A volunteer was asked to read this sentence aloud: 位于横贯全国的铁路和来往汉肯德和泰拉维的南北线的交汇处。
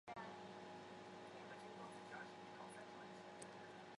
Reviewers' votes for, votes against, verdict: 0, 3, rejected